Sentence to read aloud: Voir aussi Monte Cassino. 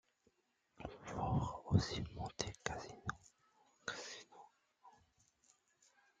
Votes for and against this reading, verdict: 1, 2, rejected